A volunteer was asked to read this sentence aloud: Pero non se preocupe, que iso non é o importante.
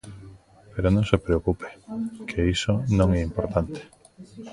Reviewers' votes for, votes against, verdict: 0, 2, rejected